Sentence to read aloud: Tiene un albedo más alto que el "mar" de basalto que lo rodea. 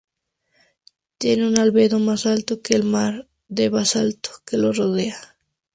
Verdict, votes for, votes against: accepted, 2, 0